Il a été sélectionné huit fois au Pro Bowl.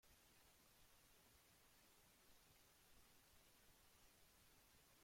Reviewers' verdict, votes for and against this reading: rejected, 0, 2